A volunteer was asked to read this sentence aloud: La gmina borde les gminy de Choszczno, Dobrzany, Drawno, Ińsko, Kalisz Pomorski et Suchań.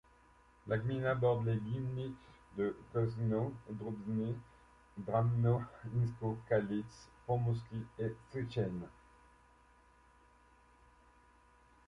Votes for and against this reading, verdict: 0, 2, rejected